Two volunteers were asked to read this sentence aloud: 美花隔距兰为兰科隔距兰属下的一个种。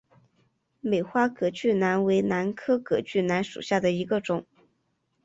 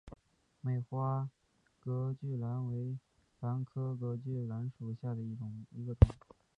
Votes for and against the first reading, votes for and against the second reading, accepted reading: 7, 0, 0, 2, first